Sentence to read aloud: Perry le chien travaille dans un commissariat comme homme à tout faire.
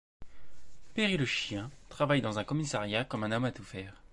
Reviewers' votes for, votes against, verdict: 1, 2, rejected